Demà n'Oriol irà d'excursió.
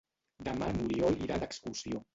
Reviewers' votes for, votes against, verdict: 1, 2, rejected